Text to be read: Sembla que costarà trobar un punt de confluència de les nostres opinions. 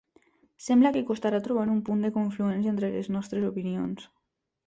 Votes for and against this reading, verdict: 0, 2, rejected